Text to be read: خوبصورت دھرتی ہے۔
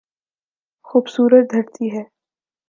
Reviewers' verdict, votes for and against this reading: accepted, 3, 0